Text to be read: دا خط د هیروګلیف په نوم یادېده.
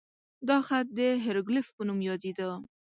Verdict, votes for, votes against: accepted, 2, 0